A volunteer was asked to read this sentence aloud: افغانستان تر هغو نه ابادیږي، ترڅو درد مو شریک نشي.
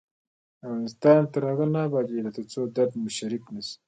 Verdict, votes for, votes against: accepted, 2, 0